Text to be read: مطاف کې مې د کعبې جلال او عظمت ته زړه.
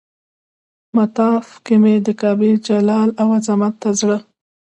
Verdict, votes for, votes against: rejected, 0, 2